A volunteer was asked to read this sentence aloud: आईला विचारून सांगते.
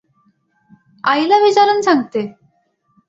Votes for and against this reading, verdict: 2, 0, accepted